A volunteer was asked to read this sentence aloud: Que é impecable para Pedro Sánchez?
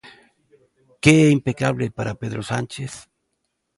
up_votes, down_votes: 3, 0